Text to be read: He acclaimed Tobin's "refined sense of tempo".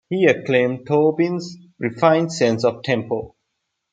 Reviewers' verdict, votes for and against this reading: accepted, 2, 0